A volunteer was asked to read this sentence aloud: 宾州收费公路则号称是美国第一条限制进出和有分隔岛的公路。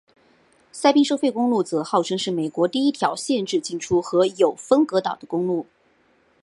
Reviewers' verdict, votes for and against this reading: accepted, 2, 0